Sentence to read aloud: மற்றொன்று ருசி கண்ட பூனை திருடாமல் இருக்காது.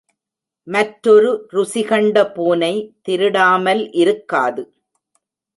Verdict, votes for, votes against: rejected, 1, 2